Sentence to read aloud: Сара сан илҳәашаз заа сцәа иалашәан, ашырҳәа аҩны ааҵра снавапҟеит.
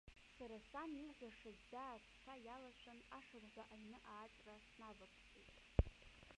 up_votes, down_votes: 0, 2